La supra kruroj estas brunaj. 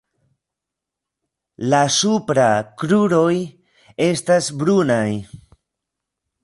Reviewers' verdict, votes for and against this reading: rejected, 1, 2